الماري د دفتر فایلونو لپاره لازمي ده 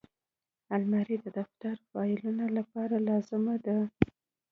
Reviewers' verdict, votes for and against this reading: accepted, 2, 0